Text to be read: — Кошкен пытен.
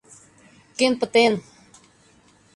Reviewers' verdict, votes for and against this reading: rejected, 0, 2